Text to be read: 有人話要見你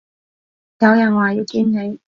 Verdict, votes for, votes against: accepted, 2, 0